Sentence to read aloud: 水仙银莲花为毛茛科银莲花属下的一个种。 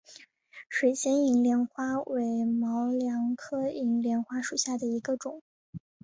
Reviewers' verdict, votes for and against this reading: accepted, 6, 0